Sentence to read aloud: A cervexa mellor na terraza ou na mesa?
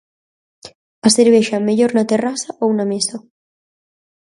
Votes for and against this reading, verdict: 4, 0, accepted